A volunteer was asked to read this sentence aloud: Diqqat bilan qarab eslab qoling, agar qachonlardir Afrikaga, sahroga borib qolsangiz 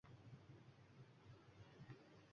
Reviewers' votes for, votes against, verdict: 0, 2, rejected